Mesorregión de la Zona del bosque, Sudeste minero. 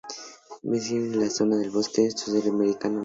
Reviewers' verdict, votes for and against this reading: rejected, 0, 2